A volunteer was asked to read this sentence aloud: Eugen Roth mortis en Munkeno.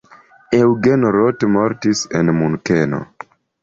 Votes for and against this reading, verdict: 2, 0, accepted